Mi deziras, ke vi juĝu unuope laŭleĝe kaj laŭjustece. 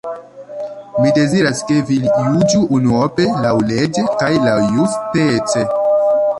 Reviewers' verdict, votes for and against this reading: rejected, 0, 2